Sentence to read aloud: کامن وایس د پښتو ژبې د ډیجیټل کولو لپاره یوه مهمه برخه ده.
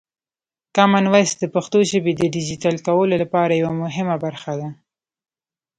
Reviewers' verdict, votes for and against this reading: accepted, 2, 0